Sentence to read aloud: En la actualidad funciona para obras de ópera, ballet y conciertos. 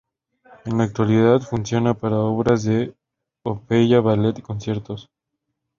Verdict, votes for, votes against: accepted, 2, 0